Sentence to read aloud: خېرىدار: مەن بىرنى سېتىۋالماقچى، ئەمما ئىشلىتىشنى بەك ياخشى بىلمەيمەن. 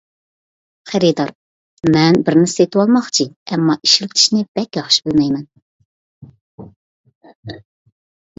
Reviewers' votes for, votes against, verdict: 3, 0, accepted